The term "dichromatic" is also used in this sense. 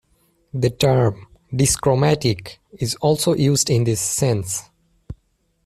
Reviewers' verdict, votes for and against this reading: rejected, 1, 2